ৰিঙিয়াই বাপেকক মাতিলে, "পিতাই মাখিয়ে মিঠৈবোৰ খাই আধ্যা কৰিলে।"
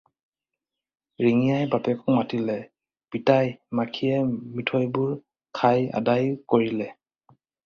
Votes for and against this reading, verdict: 2, 4, rejected